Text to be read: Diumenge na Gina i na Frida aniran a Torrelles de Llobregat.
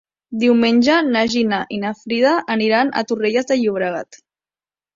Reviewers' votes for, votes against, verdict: 2, 0, accepted